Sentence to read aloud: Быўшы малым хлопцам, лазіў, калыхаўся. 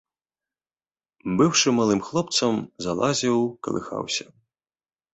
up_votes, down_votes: 0, 3